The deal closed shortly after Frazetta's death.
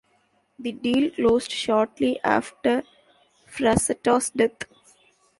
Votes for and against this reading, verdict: 2, 0, accepted